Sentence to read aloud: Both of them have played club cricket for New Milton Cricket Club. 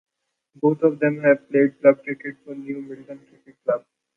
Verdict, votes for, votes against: rejected, 0, 2